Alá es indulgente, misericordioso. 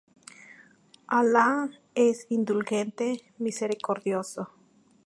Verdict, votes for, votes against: accepted, 2, 0